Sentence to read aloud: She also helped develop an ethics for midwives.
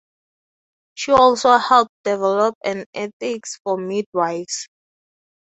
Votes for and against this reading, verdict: 0, 2, rejected